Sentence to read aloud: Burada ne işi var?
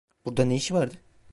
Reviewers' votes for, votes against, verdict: 1, 2, rejected